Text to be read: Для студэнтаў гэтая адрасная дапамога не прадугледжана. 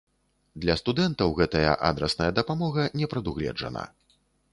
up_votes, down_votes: 2, 0